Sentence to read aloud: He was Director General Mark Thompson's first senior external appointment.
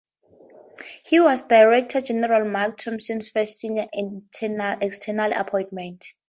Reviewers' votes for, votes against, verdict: 0, 2, rejected